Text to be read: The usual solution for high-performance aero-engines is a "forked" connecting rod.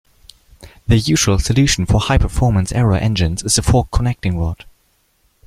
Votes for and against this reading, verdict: 1, 2, rejected